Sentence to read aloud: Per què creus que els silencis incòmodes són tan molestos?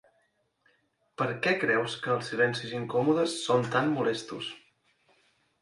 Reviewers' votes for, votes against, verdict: 4, 0, accepted